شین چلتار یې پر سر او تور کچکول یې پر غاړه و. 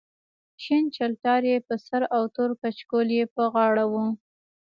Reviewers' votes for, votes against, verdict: 0, 2, rejected